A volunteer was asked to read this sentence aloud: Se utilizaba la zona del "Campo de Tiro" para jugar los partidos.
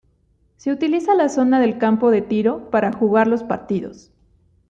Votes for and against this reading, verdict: 1, 2, rejected